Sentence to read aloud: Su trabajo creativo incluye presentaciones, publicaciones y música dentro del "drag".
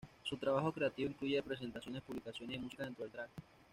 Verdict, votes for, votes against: rejected, 1, 2